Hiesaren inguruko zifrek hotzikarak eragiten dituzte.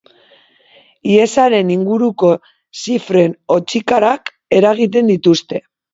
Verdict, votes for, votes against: accepted, 2, 1